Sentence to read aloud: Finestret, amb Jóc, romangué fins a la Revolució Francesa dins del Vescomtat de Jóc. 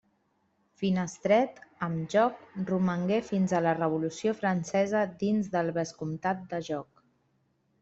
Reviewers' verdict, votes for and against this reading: accepted, 3, 0